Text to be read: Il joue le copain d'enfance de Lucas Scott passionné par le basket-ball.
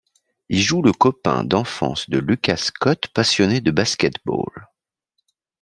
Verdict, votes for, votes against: rejected, 1, 2